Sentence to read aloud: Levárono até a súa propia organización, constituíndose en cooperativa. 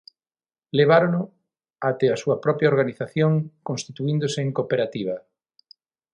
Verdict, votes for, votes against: accepted, 6, 0